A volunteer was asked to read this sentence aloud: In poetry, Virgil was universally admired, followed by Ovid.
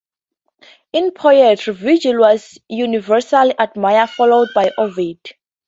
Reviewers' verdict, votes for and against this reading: accepted, 4, 0